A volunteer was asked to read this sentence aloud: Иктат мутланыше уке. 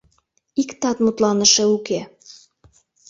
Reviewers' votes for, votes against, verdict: 2, 0, accepted